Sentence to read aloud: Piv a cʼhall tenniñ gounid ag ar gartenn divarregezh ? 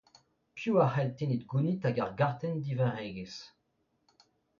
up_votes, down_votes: 2, 0